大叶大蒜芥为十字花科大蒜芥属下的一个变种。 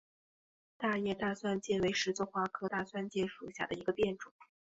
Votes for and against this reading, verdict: 3, 0, accepted